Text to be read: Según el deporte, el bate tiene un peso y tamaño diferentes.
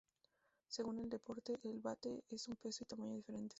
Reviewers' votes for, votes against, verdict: 0, 4, rejected